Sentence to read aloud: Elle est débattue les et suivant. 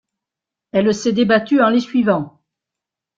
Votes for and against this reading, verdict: 0, 2, rejected